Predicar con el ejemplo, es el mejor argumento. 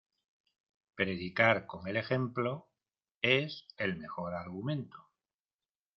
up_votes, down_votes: 2, 0